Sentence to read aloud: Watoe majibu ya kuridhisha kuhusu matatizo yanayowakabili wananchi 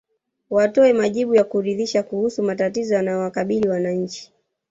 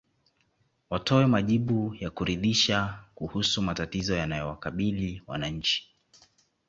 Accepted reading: second